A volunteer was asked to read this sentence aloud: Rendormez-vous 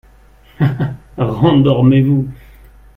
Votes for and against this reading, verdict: 1, 3, rejected